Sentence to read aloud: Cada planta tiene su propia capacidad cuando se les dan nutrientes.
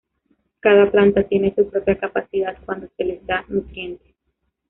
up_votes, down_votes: 2, 1